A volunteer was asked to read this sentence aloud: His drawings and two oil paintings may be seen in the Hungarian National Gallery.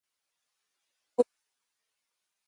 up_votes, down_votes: 0, 2